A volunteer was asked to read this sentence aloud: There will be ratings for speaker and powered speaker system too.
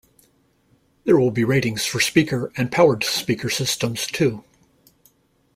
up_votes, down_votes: 0, 2